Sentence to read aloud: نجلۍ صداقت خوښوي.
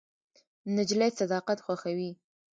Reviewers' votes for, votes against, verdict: 1, 2, rejected